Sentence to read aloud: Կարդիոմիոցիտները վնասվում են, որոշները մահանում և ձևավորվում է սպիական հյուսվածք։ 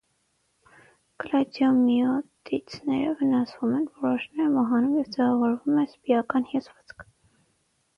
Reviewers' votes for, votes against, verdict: 3, 3, rejected